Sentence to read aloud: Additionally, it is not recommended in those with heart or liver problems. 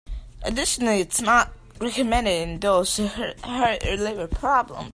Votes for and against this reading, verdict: 1, 2, rejected